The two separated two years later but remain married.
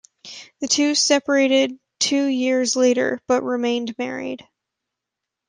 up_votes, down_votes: 1, 2